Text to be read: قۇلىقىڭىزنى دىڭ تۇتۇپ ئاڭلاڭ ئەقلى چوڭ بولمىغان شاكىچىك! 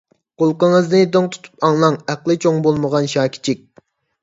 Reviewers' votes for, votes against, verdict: 2, 0, accepted